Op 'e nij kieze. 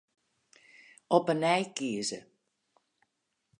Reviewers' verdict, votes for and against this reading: accepted, 4, 0